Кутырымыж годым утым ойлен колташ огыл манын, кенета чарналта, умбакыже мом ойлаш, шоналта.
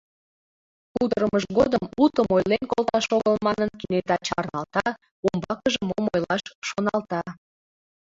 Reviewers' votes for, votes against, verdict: 1, 2, rejected